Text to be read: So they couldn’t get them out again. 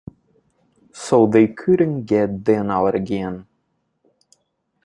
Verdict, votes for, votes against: accepted, 2, 1